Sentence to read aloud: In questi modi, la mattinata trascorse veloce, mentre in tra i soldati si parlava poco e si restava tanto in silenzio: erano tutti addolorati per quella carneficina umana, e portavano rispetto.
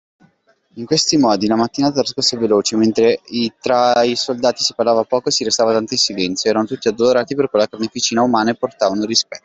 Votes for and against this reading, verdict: 0, 2, rejected